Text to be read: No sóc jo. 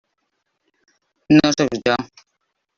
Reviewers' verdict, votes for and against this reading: rejected, 1, 2